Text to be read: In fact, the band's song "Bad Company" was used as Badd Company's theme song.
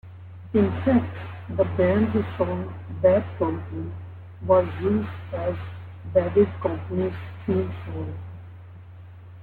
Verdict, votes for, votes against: rejected, 0, 2